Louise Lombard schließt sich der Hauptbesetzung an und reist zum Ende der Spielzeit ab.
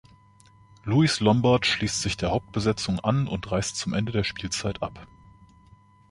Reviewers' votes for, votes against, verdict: 1, 2, rejected